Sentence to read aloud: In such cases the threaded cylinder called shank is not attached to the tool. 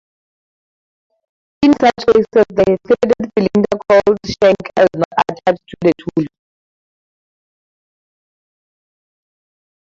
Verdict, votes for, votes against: accepted, 2, 0